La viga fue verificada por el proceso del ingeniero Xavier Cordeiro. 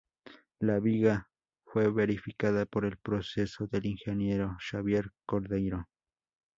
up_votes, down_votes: 2, 0